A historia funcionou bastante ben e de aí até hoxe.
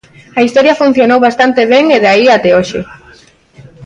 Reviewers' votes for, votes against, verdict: 2, 0, accepted